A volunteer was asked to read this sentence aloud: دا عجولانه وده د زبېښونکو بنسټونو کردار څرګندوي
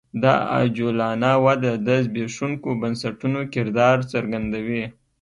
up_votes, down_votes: 3, 0